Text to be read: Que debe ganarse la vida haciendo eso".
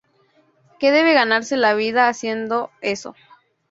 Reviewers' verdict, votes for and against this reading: accepted, 2, 0